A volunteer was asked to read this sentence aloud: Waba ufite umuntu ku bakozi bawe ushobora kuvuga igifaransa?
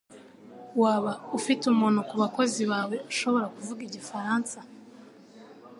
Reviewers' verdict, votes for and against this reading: accepted, 2, 0